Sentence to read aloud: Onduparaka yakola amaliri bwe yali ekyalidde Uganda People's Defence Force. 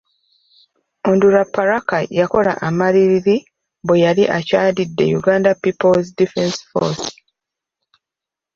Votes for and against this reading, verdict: 1, 2, rejected